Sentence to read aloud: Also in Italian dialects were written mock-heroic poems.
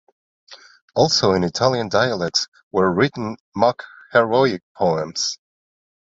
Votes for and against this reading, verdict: 2, 0, accepted